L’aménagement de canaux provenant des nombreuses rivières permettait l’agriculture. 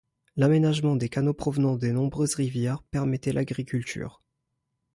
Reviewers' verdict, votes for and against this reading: rejected, 0, 2